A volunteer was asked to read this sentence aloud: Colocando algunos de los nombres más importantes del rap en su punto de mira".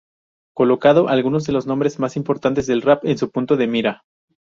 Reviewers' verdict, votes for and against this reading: rejected, 0, 2